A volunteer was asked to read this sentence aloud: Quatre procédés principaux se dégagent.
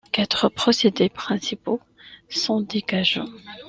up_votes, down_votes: 0, 2